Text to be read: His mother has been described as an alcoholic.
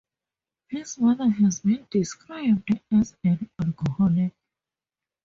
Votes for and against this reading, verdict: 0, 4, rejected